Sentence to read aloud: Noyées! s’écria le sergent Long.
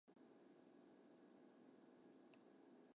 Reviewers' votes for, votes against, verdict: 0, 2, rejected